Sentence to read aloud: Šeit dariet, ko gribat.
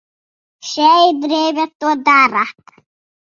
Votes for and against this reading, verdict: 0, 2, rejected